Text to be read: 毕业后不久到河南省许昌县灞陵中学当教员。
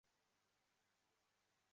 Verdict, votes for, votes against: rejected, 0, 2